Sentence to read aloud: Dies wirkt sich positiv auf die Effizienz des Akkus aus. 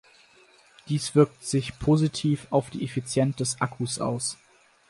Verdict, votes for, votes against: rejected, 0, 4